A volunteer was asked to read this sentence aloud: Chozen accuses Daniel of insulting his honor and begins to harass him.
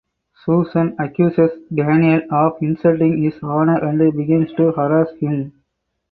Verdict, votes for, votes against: rejected, 2, 2